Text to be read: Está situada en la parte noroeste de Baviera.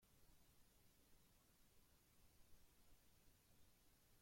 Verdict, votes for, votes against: rejected, 0, 2